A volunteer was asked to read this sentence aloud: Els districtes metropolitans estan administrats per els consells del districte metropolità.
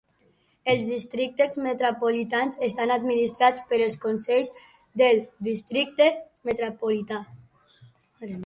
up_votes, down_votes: 1, 2